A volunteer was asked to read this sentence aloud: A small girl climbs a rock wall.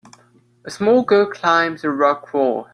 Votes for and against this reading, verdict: 2, 0, accepted